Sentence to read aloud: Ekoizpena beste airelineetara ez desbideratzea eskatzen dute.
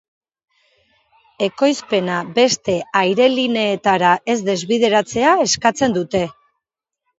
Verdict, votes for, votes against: rejected, 1, 2